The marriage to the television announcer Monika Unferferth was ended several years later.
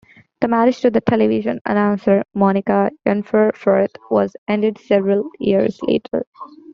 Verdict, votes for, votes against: accepted, 2, 1